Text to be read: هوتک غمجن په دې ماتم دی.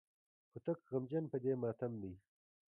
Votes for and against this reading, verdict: 2, 1, accepted